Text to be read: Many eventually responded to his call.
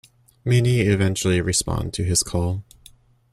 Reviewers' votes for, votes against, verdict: 1, 2, rejected